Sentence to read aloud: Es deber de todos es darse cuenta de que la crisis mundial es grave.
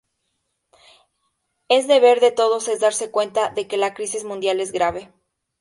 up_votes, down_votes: 0, 2